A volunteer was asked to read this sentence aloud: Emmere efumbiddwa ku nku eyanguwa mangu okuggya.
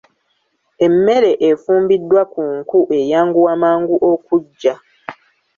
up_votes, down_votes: 1, 2